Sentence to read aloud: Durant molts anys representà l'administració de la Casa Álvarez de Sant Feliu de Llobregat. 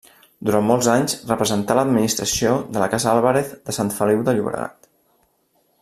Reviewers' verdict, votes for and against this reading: rejected, 1, 2